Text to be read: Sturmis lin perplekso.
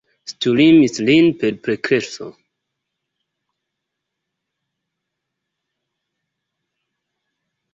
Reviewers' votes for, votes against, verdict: 2, 1, accepted